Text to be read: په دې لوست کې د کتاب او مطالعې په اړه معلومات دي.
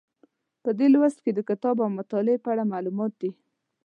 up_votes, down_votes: 2, 0